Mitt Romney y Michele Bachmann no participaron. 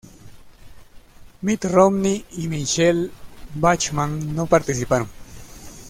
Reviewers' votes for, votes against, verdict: 2, 0, accepted